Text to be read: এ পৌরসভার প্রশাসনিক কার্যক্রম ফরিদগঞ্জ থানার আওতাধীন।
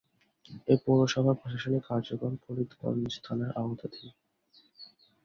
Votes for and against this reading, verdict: 2, 2, rejected